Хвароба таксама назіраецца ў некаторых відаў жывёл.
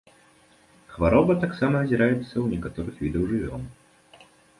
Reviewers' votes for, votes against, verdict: 2, 0, accepted